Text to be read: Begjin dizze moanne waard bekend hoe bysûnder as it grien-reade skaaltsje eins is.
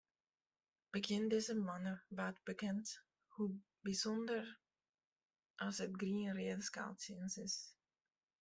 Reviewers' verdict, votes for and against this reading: rejected, 0, 2